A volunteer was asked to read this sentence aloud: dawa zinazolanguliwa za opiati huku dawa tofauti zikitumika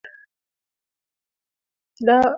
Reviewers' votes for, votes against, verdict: 0, 2, rejected